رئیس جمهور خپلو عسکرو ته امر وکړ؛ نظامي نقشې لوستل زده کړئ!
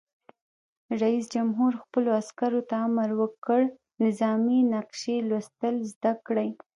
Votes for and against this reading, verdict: 0, 2, rejected